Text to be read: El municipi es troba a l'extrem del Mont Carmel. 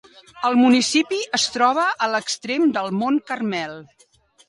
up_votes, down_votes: 3, 0